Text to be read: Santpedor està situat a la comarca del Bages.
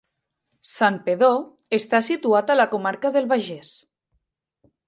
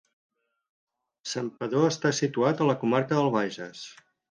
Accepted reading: second